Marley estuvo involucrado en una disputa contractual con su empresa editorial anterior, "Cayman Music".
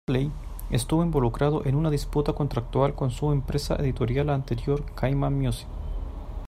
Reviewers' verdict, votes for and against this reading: rejected, 1, 2